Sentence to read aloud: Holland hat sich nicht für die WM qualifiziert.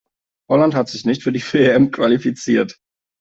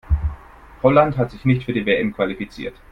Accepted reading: second